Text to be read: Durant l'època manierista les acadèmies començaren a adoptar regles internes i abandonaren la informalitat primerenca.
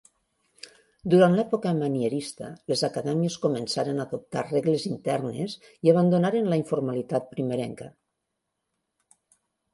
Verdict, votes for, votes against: accepted, 3, 0